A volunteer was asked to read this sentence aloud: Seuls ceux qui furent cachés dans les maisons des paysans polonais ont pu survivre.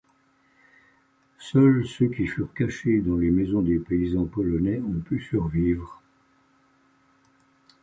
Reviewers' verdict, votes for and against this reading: accepted, 2, 0